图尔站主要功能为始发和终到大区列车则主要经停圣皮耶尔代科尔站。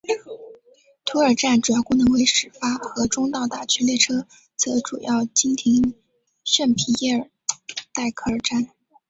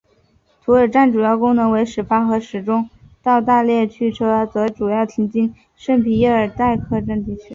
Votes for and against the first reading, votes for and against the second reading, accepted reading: 0, 2, 2, 0, second